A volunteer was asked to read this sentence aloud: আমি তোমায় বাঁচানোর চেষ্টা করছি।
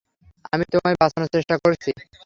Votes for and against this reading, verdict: 3, 0, accepted